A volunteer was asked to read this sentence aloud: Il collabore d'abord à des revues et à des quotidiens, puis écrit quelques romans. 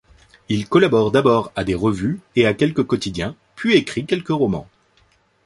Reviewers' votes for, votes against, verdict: 1, 2, rejected